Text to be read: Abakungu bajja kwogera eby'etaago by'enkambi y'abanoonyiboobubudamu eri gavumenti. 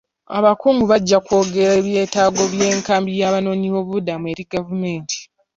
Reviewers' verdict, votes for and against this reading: accepted, 2, 0